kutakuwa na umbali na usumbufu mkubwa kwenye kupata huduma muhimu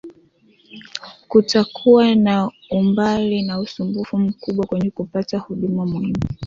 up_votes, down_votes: 0, 2